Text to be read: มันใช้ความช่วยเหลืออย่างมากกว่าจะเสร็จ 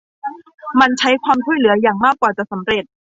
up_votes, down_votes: 0, 2